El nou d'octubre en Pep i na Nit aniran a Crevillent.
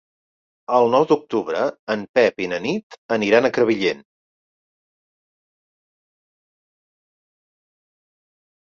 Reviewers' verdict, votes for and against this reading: accepted, 2, 0